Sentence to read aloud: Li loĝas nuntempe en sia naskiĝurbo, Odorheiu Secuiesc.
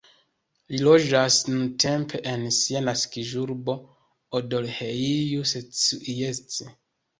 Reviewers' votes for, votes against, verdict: 0, 2, rejected